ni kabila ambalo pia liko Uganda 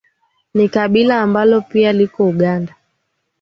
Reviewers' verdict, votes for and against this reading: accepted, 2, 0